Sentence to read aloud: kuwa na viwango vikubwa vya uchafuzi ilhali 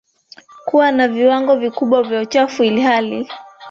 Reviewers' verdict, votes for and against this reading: rejected, 1, 2